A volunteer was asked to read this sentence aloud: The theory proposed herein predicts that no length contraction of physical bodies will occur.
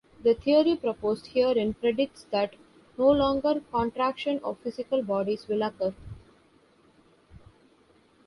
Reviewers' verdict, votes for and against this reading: rejected, 2, 2